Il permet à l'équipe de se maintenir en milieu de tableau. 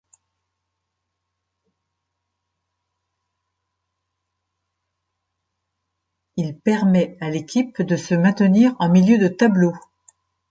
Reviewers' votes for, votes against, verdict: 0, 2, rejected